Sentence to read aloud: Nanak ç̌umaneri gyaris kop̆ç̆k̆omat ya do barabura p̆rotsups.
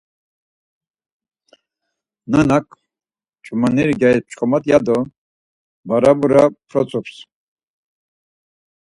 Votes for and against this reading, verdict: 4, 0, accepted